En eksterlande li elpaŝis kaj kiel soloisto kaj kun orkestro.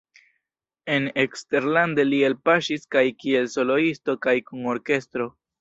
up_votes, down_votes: 2, 0